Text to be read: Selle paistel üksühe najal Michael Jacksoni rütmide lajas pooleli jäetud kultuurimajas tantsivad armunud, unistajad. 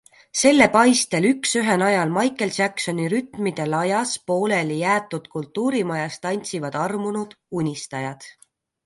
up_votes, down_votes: 2, 0